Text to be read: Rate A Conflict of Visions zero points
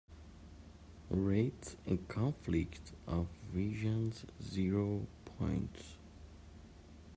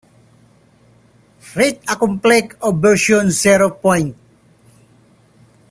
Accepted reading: first